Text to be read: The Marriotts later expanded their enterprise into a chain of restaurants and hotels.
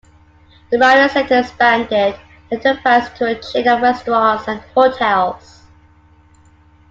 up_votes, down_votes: 2, 1